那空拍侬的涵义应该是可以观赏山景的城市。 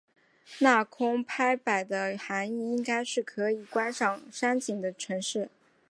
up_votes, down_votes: 0, 2